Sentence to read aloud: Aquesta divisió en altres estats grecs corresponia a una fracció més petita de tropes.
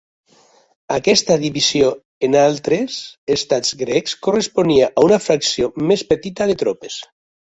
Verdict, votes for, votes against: accepted, 3, 0